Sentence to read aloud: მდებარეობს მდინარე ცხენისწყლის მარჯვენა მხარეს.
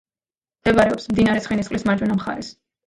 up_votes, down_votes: 2, 0